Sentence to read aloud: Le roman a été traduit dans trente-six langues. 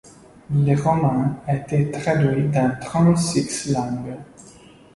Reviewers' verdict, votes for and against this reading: accepted, 2, 0